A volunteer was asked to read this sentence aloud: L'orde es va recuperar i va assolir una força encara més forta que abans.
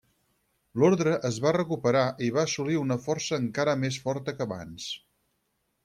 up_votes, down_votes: 0, 4